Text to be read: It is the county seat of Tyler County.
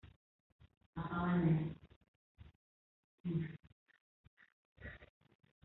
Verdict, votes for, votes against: rejected, 0, 2